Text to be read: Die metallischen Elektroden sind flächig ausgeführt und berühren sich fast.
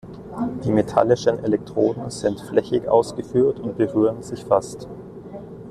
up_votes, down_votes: 2, 0